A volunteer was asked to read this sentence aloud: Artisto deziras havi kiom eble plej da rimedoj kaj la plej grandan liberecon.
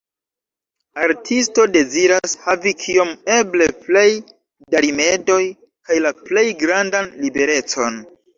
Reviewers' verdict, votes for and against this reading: accepted, 2, 0